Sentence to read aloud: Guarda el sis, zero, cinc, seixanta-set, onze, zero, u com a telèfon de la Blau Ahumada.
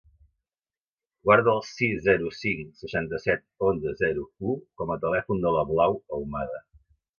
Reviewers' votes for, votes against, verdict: 2, 0, accepted